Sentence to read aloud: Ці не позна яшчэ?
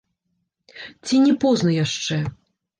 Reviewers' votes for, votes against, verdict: 1, 2, rejected